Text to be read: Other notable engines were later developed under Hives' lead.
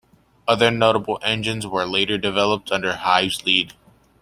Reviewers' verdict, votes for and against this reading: accepted, 2, 0